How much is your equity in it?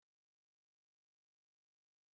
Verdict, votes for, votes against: rejected, 0, 2